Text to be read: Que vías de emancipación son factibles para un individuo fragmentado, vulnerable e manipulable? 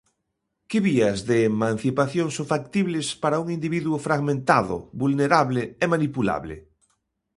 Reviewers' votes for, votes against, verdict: 2, 0, accepted